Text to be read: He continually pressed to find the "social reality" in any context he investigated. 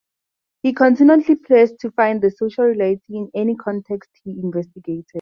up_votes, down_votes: 0, 2